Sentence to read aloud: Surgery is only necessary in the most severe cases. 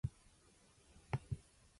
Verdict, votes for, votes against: rejected, 0, 2